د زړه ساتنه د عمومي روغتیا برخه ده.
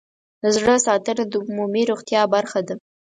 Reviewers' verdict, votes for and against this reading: accepted, 4, 0